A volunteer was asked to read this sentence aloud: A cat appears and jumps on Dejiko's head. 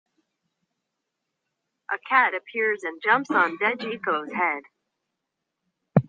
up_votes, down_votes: 2, 0